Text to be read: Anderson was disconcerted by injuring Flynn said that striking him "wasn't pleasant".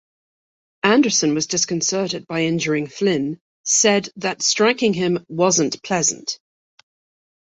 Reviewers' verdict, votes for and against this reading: accepted, 2, 0